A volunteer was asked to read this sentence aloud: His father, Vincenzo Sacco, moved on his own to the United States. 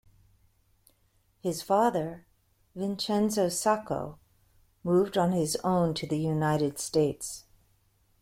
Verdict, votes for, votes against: accepted, 2, 1